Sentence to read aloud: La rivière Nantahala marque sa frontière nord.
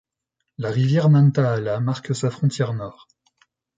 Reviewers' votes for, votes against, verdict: 2, 0, accepted